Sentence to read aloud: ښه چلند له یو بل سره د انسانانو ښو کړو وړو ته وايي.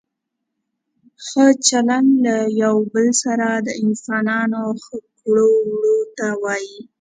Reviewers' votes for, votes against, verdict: 3, 0, accepted